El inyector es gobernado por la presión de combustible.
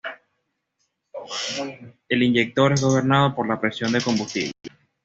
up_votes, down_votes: 2, 0